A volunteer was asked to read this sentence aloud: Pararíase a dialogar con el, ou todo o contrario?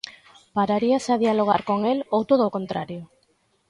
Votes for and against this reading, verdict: 2, 0, accepted